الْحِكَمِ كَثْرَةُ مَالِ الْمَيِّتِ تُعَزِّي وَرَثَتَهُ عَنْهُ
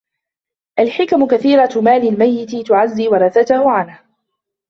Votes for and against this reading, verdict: 0, 2, rejected